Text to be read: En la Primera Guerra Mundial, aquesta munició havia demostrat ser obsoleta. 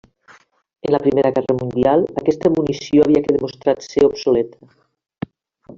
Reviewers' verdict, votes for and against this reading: rejected, 1, 2